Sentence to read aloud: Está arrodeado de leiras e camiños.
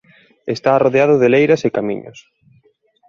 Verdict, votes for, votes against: accepted, 2, 0